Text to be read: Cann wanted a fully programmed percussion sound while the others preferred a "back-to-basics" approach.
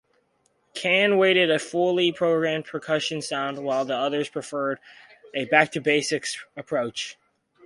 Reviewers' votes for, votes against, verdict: 2, 4, rejected